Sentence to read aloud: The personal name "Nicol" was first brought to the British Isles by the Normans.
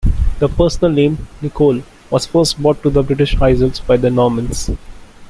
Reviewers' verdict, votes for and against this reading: accepted, 2, 0